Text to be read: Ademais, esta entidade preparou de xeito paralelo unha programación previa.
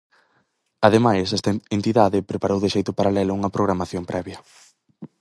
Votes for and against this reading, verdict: 4, 0, accepted